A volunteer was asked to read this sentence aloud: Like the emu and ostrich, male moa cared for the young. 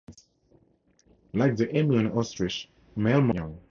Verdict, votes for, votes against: rejected, 0, 4